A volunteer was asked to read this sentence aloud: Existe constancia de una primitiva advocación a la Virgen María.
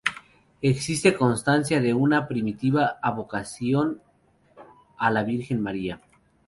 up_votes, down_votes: 0, 2